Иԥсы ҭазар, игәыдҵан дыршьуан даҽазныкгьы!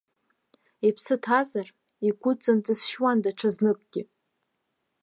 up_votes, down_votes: 1, 2